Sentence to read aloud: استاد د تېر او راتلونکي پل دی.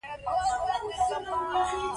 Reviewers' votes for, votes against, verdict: 0, 2, rejected